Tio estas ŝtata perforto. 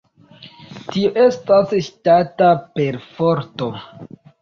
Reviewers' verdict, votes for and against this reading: rejected, 1, 2